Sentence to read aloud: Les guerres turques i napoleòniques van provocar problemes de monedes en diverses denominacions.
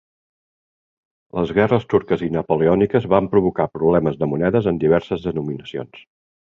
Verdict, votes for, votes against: accepted, 3, 0